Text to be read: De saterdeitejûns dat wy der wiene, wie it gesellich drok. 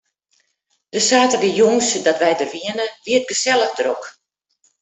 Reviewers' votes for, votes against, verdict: 2, 0, accepted